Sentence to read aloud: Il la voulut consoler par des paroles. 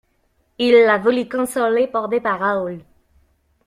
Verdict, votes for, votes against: rejected, 0, 2